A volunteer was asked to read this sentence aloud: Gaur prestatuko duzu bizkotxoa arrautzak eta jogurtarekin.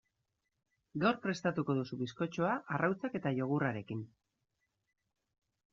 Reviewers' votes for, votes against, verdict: 2, 0, accepted